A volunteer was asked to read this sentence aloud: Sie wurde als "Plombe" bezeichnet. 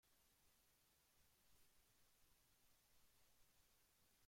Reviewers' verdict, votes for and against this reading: rejected, 0, 2